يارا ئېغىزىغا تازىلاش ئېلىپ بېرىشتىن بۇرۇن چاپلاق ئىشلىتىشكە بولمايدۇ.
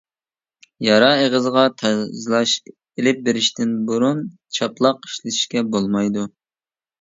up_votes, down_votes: 1, 2